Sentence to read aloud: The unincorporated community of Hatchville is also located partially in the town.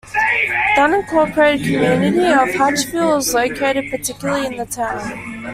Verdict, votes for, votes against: rejected, 0, 2